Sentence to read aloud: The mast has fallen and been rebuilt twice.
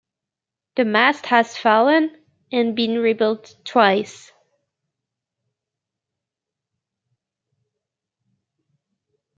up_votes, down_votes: 2, 0